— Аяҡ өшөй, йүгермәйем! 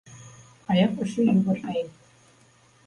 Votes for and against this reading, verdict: 0, 2, rejected